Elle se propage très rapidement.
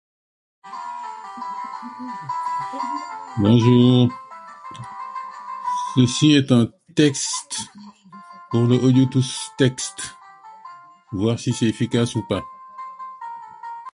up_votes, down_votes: 0, 2